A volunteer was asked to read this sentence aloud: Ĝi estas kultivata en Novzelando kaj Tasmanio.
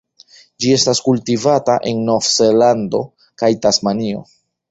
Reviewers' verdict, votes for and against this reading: accepted, 2, 0